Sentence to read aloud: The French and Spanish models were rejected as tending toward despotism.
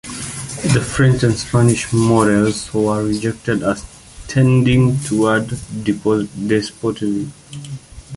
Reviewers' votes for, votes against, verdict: 1, 2, rejected